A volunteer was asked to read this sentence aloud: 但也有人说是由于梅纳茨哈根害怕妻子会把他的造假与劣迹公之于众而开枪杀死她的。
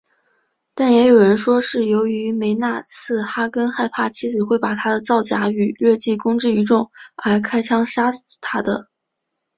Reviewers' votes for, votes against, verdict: 2, 0, accepted